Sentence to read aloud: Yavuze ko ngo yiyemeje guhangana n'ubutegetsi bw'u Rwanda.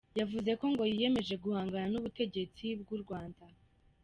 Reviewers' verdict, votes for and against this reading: accepted, 2, 0